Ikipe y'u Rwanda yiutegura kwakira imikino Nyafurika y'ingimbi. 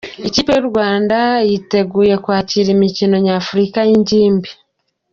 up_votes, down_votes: 2, 0